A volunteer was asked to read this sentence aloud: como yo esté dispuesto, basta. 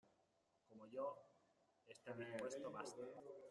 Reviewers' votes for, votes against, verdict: 0, 2, rejected